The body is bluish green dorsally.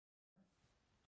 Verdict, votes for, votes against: rejected, 0, 3